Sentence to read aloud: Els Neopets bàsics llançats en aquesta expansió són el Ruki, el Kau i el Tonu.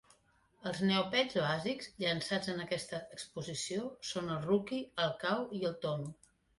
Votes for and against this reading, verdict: 0, 2, rejected